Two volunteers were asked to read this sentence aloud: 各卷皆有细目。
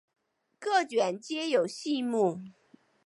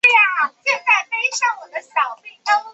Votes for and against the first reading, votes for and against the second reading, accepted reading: 7, 0, 0, 3, first